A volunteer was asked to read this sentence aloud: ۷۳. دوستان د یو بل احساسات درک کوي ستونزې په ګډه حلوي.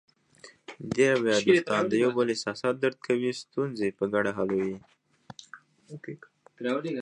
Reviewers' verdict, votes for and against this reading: rejected, 0, 2